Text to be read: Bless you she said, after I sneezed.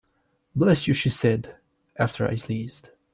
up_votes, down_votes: 2, 0